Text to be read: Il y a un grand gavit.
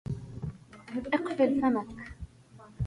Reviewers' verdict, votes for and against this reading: rejected, 0, 2